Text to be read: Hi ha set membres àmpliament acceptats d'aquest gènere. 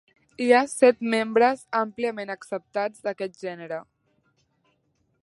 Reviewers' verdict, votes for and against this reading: accepted, 7, 0